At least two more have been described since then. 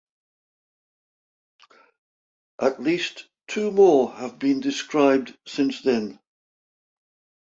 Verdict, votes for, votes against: accepted, 2, 0